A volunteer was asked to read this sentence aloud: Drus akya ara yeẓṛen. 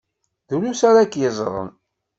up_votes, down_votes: 1, 2